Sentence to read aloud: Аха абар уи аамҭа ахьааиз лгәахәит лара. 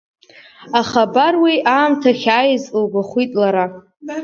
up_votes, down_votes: 4, 0